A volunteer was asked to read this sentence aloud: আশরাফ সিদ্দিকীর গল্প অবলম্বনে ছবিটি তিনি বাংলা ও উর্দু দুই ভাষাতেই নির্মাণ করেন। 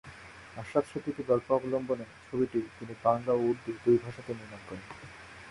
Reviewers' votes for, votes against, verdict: 0, 2, rejected